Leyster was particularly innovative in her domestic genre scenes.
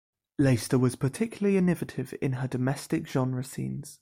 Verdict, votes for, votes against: accepted, 2, 0